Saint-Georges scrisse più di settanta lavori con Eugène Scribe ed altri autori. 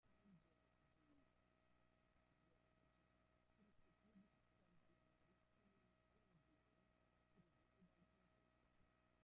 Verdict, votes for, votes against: rejected, 0, 2